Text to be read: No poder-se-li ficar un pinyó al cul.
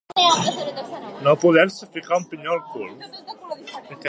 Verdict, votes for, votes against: rejected, 1, 2